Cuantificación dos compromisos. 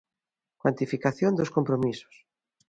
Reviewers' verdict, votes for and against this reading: accepted, 2, 0